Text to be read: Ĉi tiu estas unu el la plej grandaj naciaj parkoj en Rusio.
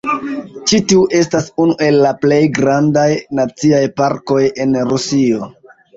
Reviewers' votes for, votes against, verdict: 0, 2, rejected